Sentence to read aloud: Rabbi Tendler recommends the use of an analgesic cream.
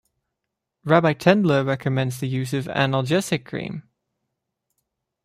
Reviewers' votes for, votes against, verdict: 1, 2, rejected